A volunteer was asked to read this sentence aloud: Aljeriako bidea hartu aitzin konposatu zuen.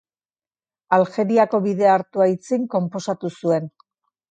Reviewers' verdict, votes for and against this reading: accepted, 2, 0